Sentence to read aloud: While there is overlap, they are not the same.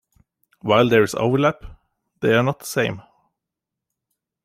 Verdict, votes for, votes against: accepted, 2, 0